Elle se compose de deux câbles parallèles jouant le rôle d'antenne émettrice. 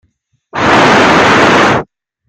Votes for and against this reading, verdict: 0, 2, rejected